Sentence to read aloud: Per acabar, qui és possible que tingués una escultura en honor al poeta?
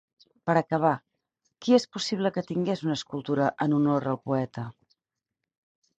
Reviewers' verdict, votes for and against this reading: accepted, 4, 0